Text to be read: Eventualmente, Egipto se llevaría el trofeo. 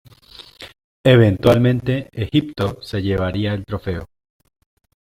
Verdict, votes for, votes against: accepted, 2, 0